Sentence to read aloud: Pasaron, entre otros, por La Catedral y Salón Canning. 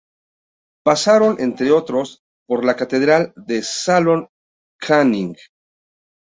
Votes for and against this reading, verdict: 0, 2, rejected